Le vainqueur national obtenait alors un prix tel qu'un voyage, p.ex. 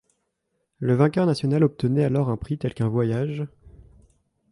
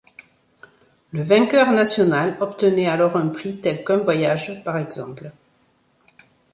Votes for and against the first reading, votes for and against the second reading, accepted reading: 1, 3, 2, 0, second